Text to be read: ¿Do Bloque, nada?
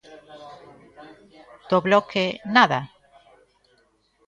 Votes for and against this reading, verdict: 2, 0, accepted